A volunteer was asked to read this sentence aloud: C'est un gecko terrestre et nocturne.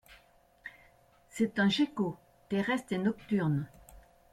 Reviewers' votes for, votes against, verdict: 0, 2, rejected